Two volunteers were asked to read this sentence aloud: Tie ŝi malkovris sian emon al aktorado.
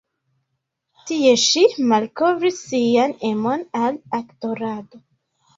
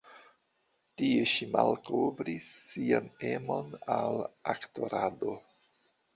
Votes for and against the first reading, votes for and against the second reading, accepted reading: 0, 2, 2, 1, second